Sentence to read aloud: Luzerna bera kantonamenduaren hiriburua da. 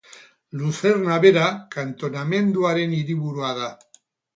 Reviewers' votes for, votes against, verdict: 2, 2, rejected